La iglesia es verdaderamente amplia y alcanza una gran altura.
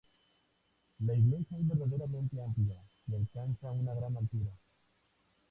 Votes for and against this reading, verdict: 2, 0, accepted